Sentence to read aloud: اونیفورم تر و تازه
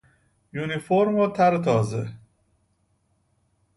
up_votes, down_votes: 0, 2